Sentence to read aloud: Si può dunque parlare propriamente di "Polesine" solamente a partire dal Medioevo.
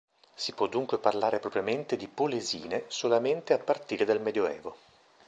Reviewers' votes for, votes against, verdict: 0, 2, rejected